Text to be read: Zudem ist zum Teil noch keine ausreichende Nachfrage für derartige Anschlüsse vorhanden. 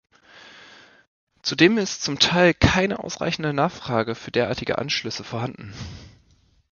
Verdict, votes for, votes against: rejected, 1, 2